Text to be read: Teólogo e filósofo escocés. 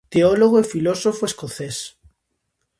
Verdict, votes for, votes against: accepted, 2, 0